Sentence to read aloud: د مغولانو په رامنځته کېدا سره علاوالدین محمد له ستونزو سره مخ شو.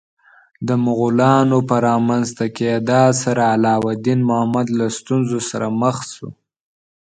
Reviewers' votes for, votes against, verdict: 2, 1, accepted